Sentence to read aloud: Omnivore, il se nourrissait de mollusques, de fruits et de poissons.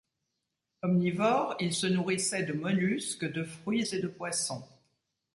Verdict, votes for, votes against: accepted, 2, 0